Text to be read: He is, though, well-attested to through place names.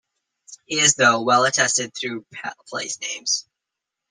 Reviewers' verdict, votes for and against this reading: rejected, 0, 2